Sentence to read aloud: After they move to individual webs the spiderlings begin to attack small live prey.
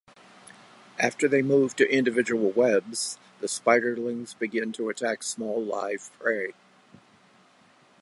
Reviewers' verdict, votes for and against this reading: accepted, 2, 0